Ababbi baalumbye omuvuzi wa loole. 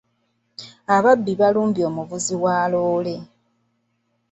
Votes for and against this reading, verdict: 2, 0, accepted